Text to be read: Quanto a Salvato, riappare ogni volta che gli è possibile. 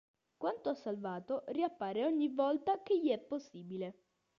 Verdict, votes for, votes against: accepted, 2, 0